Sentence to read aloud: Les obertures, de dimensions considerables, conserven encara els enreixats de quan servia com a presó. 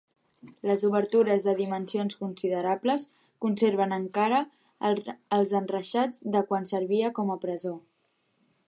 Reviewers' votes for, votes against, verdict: 0, 2, rejected